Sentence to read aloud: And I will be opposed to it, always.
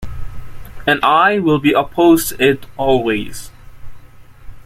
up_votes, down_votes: 0, 2